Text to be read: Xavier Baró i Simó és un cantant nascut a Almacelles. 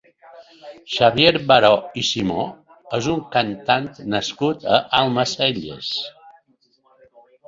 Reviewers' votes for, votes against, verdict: 2, 0, accepted